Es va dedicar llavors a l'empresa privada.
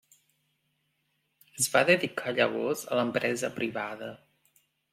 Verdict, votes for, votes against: accepted, 3, 0